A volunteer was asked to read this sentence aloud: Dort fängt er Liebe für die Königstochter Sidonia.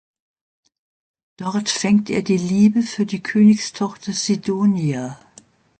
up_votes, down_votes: 0, 2